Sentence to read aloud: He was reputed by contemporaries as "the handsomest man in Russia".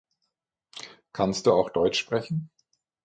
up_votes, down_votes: 0, 9